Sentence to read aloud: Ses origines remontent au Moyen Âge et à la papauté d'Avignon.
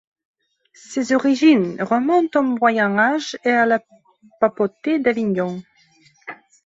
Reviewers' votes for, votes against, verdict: 1, 2, rejected